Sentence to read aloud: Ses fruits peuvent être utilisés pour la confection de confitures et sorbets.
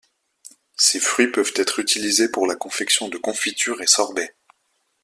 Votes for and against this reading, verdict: 2, 0, accepted